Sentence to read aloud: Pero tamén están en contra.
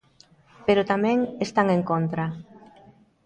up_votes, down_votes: 2, 0